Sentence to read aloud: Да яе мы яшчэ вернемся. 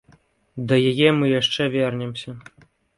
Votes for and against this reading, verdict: 2, 0, accepted